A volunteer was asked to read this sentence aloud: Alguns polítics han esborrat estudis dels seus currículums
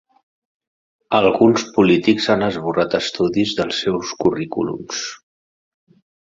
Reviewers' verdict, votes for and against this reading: accepted, 3, 0